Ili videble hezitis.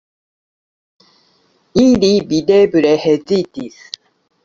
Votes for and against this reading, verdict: 2, 1, accepted